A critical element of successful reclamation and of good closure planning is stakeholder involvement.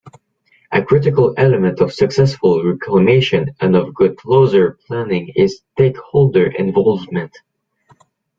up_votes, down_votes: 1, 2